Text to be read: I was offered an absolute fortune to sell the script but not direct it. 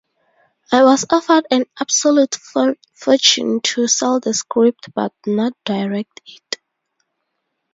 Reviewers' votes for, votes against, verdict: 0, 4, rejected